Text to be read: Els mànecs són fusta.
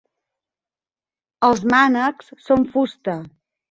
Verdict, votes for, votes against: accepted, 6, 0